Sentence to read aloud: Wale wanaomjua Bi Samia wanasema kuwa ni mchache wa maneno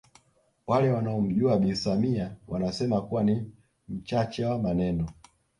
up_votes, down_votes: 2, 0